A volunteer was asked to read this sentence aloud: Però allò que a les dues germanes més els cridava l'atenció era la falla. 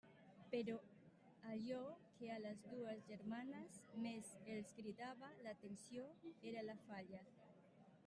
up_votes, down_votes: 0, 2